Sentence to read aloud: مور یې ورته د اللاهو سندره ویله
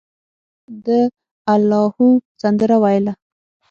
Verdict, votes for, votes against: rejected, 0, 6